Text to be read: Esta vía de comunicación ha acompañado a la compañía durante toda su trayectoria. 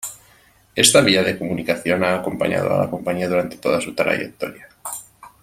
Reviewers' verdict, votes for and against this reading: accepted, 2, 0